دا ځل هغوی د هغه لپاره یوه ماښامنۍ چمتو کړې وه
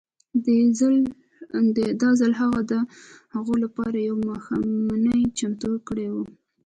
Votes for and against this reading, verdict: 1, 2, rejected